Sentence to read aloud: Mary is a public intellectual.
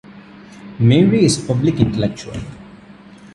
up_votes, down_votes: 0, 3